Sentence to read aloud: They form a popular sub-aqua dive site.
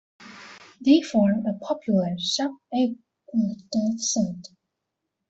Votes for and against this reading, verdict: 0, 2, rejected